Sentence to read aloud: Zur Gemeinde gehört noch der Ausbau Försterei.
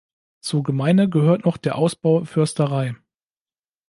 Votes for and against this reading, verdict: 1, 2, rejected